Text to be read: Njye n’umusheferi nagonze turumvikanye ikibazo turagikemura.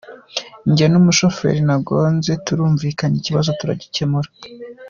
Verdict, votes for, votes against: accepted, 2, 0